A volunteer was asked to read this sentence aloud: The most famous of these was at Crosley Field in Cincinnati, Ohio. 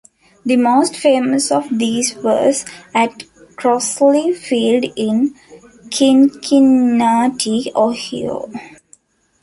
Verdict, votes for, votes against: rejected, 0, 2